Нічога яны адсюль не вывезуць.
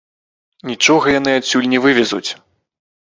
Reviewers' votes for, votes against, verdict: 0, 2, rejected